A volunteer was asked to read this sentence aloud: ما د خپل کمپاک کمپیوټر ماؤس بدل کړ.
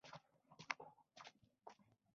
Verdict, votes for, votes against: rejected, 1, 2